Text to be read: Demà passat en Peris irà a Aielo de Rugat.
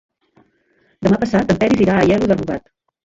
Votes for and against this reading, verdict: 0, 2, rejected